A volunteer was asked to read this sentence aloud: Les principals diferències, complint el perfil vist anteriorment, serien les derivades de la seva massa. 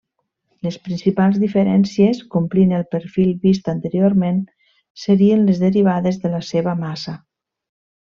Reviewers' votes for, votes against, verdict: 3, 0, accepted